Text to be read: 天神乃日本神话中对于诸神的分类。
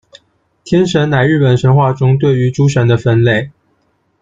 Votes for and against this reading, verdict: 2, 1, accepted